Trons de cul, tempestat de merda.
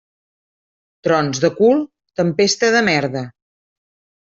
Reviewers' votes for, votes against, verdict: 0, 2, rejected